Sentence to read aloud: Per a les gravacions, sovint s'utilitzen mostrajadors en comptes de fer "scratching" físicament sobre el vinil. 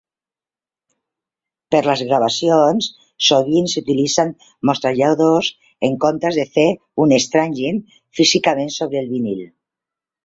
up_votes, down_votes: 0, 2